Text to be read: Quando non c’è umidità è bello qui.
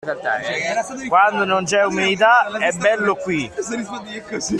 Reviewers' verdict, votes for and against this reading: accepted, 2, 0